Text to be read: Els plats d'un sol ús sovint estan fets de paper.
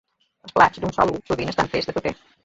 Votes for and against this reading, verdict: 0, 2, rejected